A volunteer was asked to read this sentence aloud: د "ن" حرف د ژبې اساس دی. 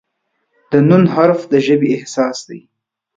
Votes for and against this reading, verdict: 2, 4, rejected